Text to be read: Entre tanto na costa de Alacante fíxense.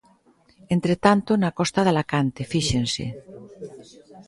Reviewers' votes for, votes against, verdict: 2, 0, accepted